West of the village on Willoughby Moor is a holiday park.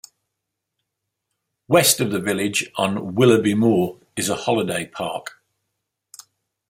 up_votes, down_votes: 2, 0